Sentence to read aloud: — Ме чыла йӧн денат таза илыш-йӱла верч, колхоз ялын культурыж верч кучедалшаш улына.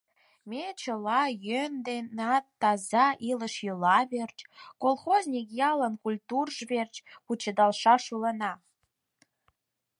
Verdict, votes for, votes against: rejected, 2, 4